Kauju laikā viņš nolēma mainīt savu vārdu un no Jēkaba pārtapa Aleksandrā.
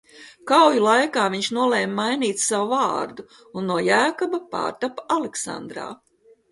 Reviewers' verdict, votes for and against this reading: accepted, 2, 0